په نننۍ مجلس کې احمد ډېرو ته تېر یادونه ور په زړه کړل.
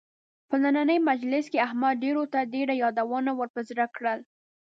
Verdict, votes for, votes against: rejected, 0, 2